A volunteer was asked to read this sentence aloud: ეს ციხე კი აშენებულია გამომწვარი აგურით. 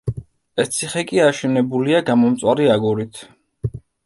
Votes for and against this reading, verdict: 2, 0, accepted